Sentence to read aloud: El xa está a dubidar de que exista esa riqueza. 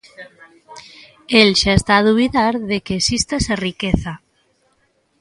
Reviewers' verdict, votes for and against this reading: rejected, 2, 3